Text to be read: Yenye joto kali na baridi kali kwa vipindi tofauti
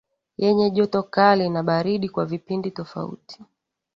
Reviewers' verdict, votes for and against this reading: rejected, 0, 2